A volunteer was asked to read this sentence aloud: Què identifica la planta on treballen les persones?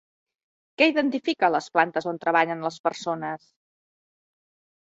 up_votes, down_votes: 0, 2